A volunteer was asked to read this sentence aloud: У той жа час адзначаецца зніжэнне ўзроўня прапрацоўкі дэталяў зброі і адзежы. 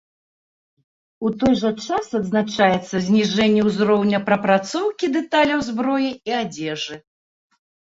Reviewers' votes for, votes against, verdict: 2, 0, accepted